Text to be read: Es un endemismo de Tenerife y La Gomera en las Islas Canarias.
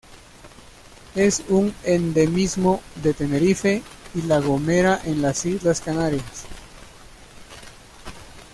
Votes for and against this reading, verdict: 1, 2, rejected